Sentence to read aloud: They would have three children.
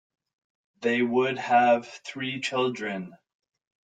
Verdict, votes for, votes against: accepted, 2, 0